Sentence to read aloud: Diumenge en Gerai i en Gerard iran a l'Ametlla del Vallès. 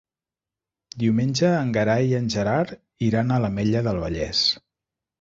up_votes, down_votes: 1, 2